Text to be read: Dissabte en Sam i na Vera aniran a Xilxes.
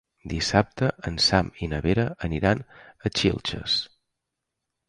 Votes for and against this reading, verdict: 2, 0, accepted